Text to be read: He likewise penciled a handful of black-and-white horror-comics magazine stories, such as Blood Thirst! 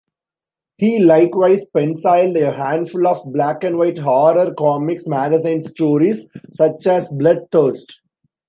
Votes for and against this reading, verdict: 2, 0, accepted